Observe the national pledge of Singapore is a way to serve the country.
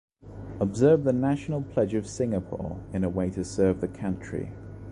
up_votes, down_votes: 0, 2